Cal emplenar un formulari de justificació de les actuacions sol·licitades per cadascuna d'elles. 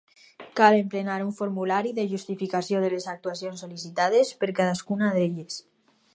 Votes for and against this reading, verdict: 4, 0, accepted